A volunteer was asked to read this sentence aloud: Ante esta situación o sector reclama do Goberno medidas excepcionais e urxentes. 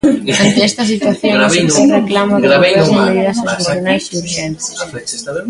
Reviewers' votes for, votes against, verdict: 0, 2, rejected